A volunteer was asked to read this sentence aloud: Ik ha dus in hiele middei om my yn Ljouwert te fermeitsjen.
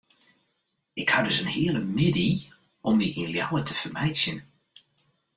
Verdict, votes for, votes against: accepted, 2, 0